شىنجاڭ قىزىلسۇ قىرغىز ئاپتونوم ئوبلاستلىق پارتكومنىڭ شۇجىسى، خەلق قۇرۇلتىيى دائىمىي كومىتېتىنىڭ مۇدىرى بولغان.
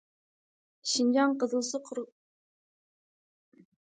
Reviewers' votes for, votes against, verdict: 0, 2, rejected